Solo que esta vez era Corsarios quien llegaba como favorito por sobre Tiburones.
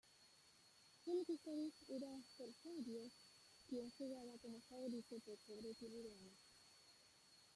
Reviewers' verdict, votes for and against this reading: rejected, 0, 2